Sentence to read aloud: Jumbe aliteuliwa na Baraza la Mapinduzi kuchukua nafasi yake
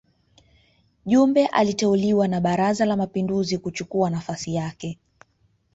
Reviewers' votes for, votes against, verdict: 1, 2, rejected